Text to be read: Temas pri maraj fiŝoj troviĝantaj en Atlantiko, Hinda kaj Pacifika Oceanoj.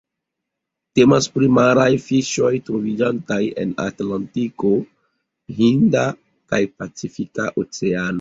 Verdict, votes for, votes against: accepted, 2, 0